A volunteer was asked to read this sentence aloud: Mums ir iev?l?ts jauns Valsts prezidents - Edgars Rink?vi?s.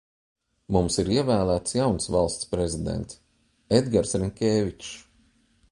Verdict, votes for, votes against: rejected, 1, 2